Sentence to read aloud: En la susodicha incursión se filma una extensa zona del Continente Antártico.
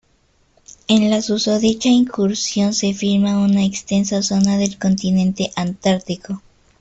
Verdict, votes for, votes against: accepted, 2, 0